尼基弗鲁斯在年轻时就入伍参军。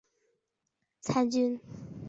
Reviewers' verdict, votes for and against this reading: rejected, 1, 2